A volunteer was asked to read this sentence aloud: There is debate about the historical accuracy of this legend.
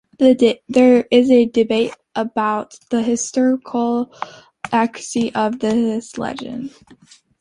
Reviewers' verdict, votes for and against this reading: rejected, 0, 3